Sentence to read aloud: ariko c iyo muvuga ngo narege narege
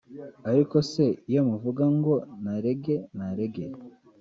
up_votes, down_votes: 1, 2